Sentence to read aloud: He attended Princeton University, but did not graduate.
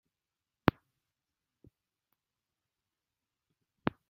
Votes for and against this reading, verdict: 0, 2, rejected